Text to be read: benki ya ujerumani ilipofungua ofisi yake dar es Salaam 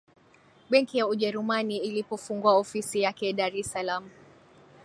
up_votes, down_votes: 2, 0